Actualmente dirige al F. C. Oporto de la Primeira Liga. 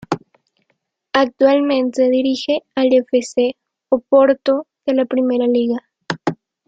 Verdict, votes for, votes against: rejected, 0, 2